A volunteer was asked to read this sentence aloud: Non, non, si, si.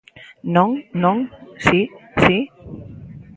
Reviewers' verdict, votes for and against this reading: accepted, 2, 0